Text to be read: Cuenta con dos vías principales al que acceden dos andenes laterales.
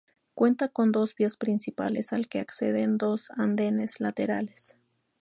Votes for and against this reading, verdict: 2, 0, accepted